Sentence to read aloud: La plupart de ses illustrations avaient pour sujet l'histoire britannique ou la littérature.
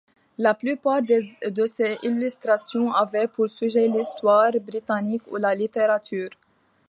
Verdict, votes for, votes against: rejected, 1, 2